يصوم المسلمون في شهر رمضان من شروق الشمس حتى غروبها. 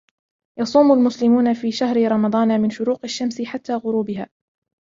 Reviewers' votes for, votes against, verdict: 0, 2, rejected